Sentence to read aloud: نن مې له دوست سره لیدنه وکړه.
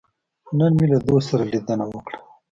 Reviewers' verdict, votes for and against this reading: accepted, 2, 1